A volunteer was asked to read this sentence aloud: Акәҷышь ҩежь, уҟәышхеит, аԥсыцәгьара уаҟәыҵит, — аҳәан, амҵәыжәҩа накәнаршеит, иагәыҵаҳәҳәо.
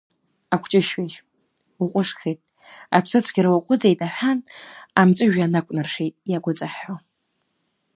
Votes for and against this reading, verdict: 1, 2, rejected